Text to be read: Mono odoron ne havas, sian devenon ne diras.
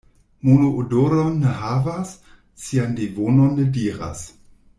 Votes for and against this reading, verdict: 1, 2, rejected